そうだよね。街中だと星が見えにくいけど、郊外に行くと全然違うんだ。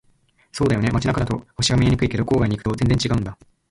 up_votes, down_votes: 1, 2